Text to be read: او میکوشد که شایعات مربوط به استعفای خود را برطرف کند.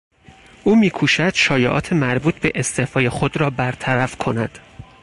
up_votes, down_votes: 0, 4